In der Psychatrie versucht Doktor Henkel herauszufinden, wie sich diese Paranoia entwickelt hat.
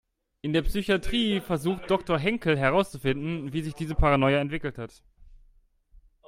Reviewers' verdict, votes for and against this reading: accepted, 2, 0